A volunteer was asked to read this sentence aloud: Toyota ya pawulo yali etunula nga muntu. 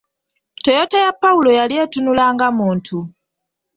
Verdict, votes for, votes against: accepted, 3, 0